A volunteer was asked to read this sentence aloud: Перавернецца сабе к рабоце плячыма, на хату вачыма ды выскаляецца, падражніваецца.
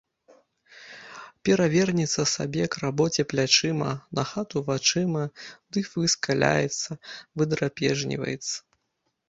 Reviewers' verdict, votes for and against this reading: rejected, 0, 2